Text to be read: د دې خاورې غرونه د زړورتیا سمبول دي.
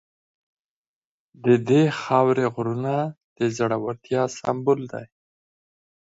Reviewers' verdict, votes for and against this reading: accepted, 4, 0